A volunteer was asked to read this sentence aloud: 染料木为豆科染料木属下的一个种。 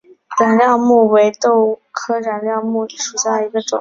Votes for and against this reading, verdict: 4, 0, accepted